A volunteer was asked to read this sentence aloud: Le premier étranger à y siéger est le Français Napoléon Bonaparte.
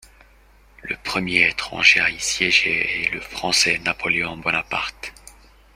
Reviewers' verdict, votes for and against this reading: rejected, 0, 2